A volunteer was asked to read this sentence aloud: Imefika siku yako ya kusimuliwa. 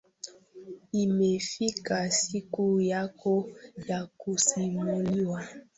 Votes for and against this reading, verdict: 2, 0, accepted